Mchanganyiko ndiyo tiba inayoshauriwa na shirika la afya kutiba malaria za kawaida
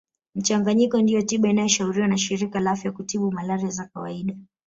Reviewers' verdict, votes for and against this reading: accepted, 4, 1